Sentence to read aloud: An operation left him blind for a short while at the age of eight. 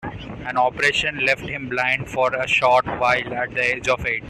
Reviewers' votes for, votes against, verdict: 2, 0, accepted